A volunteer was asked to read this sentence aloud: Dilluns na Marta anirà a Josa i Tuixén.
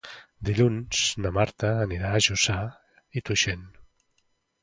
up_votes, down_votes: 1, 2